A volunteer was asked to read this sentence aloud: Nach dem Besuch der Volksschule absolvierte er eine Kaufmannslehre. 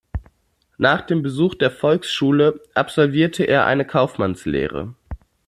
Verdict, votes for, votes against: accepted, 2, 0